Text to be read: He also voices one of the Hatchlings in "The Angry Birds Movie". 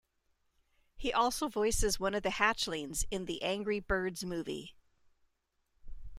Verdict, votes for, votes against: accepted, 2, 0